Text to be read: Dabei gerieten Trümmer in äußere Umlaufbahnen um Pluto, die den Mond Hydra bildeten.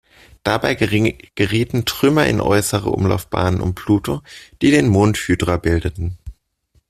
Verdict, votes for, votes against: rejected, 1, 2